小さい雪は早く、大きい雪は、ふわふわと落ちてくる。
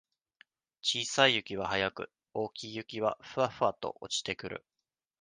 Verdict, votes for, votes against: accepted, 2, 0